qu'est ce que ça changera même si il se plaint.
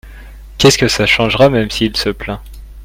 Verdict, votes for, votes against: accepted, 2, 0